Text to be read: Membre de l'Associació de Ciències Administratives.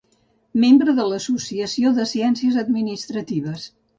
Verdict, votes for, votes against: accepted, 2, 0